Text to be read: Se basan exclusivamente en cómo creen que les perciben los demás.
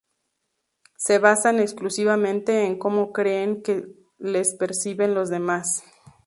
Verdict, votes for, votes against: accepted, 2, 0